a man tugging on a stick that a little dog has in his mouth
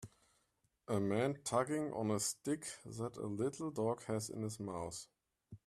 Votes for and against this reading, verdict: 2, 0, accepted